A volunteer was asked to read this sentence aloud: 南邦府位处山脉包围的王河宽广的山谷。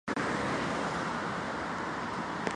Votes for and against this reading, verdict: 0, 3, rejected